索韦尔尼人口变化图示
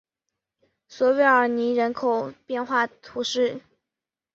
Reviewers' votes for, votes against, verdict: 1, 2, rejected